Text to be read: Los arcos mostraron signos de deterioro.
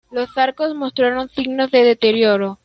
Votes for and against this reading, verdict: 0, 2, rejected